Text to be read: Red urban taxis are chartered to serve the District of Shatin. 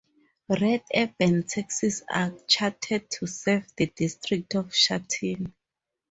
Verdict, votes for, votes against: accepted, 4, 0